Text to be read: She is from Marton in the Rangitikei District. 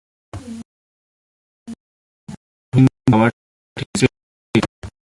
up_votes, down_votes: 1, 2